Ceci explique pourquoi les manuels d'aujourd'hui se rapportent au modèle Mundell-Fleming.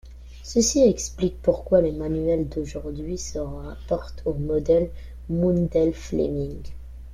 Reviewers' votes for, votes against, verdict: 0, 3, rejected